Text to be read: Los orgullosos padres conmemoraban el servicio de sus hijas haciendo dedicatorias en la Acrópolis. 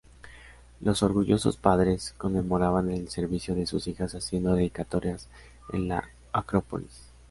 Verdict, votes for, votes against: accepted, 2, 0